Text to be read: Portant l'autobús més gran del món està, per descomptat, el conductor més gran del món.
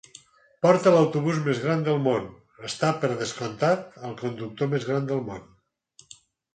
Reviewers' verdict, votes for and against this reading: rejected, 0, 4